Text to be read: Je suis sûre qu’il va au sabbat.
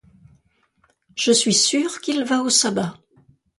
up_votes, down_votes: 2, 0